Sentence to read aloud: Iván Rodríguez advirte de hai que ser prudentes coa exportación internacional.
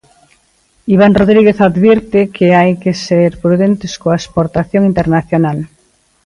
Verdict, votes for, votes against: rejected, 1, 2